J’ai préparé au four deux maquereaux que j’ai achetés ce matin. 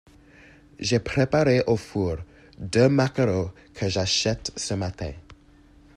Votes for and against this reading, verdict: 1, 2, rejected